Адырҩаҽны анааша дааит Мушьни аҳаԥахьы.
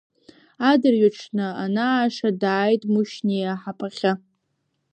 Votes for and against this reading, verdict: 2, 1, accepted